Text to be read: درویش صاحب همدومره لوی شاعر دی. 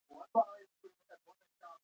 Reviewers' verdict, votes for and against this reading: rejected, 1, 2